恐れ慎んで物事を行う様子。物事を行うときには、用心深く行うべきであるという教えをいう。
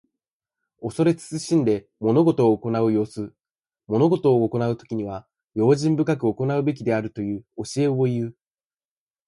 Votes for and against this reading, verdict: 2, 4, rejected